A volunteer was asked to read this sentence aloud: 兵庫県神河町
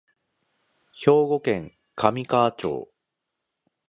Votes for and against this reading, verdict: 2, 0, accepted